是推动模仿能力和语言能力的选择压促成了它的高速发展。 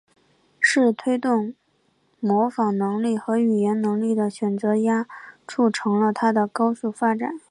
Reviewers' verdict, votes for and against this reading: accepted, 2, 1